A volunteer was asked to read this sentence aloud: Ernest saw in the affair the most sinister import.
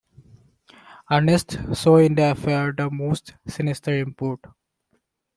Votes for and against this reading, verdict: 2, 1, accepted